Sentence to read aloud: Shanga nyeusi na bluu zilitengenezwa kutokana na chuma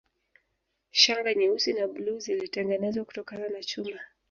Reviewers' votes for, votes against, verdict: 2, 0, accepted